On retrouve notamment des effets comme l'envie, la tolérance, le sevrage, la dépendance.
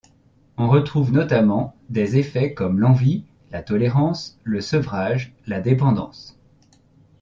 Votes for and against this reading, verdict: 2, 0, accepted